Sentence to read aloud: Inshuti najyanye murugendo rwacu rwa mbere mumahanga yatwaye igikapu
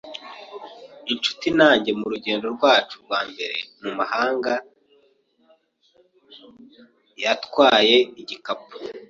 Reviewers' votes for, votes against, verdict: 0, 2, rejected